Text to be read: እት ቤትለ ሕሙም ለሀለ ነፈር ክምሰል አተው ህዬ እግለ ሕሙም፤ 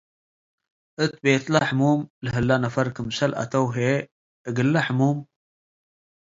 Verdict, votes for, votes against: accepted, 2, 0